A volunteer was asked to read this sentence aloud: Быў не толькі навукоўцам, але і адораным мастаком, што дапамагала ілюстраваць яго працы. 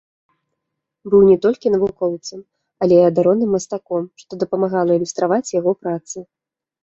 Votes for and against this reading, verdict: 2, 0, accepted